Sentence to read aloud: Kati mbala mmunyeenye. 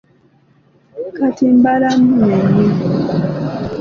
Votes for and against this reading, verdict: 2, 0, accepted